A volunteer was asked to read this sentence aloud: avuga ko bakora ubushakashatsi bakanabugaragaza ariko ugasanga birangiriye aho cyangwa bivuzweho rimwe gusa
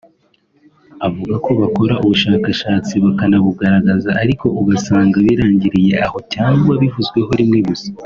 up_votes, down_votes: 2, 0